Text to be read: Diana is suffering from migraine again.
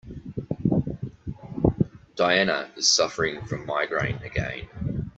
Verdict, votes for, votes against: accepted, 2, 0